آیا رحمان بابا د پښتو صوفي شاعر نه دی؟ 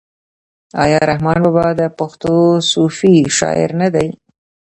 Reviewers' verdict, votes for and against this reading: rejected, 1, 2